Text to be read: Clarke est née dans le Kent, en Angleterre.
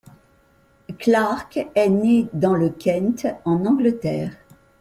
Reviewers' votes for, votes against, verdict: 2, 0, accepted